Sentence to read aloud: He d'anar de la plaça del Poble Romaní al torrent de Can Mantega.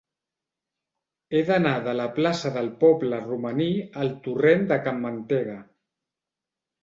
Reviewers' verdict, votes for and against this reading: accepted, 2, 0